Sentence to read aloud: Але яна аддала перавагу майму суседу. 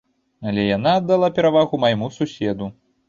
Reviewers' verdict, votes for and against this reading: accepted, 2, 0